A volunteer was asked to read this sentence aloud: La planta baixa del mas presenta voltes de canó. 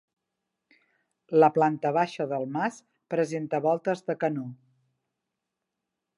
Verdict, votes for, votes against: accepted, 2, 0